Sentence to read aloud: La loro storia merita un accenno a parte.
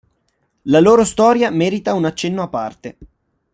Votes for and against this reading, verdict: 2, 0, accepted